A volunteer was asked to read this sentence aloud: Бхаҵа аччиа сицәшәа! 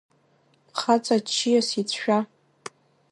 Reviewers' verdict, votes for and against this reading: rejected, 1, 2